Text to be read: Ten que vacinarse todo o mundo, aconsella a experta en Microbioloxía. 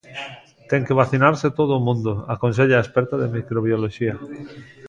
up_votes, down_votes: 0, 2